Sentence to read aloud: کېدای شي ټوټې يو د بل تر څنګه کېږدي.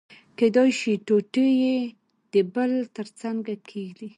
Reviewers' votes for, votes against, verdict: 1, 2, rejected